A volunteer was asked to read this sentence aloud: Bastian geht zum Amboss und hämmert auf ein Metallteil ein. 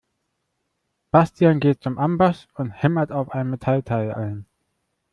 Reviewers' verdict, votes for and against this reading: accepted, 2, 0